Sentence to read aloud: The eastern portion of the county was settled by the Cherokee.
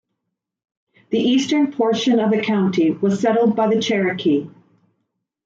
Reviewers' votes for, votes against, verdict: 2, 0, accepted